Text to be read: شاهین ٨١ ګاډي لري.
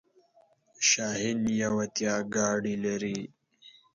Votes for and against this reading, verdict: 0, 2, rejected